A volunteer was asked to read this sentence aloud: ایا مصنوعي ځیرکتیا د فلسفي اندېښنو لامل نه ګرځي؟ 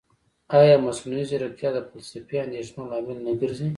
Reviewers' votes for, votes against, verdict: 2, 0, accepted